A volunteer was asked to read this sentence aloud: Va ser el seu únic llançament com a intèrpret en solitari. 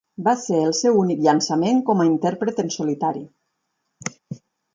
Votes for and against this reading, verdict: 4, 0, accepted